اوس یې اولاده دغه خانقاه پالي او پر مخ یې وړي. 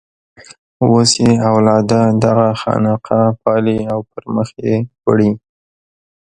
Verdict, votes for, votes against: rejected, 1, 2